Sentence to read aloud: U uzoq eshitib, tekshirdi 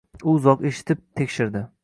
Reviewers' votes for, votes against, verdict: 2, 0, accepted